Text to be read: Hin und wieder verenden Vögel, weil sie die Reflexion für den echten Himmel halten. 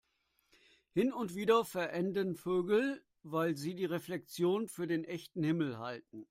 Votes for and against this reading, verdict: 2, 0, accepted